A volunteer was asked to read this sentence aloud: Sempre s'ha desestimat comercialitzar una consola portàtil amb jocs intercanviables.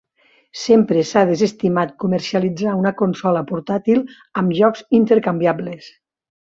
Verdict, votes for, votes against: accepted, 2, 0